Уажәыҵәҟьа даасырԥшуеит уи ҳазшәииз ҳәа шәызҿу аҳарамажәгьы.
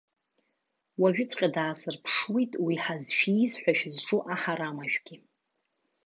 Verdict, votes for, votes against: rejected, 1, 2